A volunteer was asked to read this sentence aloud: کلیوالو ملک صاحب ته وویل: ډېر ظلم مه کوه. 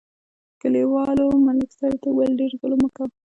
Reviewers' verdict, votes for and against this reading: accepted, 2, 0